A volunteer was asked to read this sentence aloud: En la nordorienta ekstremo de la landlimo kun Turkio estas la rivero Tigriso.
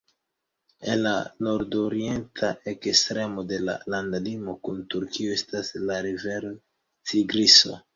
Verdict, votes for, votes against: accepted, 2, 0